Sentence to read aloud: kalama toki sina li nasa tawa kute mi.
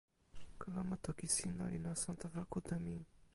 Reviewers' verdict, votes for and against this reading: rejected, 0, 2